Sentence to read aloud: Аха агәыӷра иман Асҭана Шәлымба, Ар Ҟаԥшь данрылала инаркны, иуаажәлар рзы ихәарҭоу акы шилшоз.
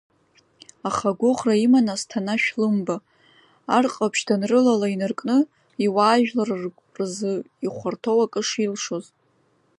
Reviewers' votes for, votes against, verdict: 2, 1, accepted